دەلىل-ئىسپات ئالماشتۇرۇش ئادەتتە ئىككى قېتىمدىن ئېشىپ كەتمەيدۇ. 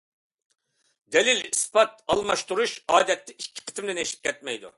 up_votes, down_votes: 2, 0